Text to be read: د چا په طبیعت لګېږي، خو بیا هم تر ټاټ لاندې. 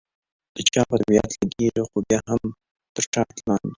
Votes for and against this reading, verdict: 2, 1, accepted